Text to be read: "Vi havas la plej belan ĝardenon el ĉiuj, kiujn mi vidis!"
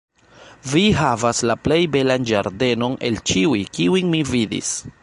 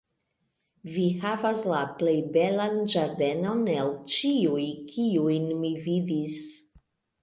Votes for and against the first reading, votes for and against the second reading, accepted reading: 1, 2, 2, 1, second